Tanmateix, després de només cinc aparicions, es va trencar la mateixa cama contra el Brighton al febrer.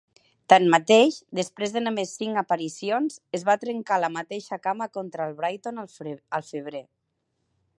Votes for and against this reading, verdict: 0, 2, rejected